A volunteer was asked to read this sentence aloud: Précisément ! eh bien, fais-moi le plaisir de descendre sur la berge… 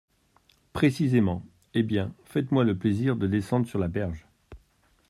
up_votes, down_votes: 1, 2